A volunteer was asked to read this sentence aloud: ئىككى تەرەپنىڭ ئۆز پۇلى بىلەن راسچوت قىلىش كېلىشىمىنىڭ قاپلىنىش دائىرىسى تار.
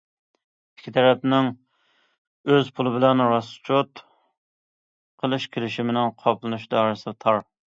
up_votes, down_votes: 2, 0